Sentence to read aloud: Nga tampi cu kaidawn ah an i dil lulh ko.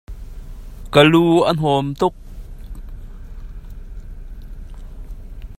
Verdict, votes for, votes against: rejected, 0, 2